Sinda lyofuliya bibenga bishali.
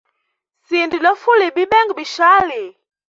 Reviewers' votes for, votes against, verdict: 2, 0, accepted